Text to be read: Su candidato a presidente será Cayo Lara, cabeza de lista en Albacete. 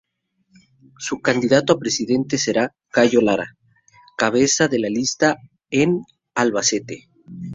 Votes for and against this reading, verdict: 0, 2, rejected